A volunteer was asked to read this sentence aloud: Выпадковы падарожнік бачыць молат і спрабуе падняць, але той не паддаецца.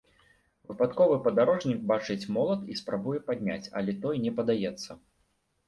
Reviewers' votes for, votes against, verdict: 1, 2, rejected